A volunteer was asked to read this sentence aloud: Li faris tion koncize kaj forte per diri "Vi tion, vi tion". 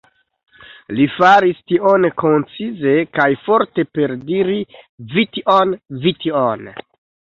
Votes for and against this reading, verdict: 1, 2, rejected